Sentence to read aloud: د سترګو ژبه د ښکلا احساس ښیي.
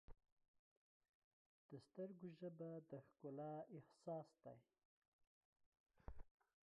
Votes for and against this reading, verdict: 0, 2, rejected